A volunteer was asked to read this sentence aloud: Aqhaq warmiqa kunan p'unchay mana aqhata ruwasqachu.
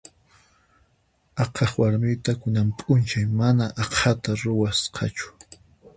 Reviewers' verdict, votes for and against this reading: rejected, 0, 4